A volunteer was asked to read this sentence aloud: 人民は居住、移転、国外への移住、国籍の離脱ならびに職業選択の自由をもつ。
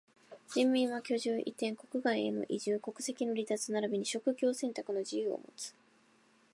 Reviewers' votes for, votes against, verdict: 2, 0, accepted